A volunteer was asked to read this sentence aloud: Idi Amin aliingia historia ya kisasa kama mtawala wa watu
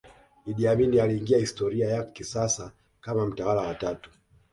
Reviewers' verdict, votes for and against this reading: accepted, 2, 0